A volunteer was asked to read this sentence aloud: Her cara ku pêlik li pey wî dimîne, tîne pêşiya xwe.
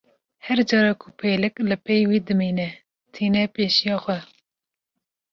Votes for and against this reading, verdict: 2, 0, accepted